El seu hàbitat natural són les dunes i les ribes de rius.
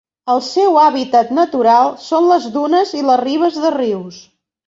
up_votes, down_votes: 3, 0